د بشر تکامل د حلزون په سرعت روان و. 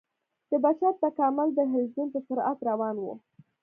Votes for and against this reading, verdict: 2, 0, accepted